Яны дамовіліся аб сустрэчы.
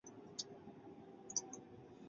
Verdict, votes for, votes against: rejected, 0, 2